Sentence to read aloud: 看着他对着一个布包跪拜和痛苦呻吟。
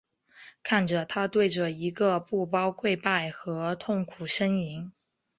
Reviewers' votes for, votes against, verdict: 5, 2, accepted